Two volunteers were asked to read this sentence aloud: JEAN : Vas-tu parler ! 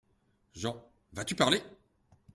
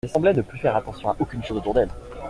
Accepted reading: first